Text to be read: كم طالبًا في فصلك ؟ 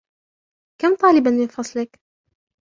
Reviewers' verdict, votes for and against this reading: rejected, 1, 2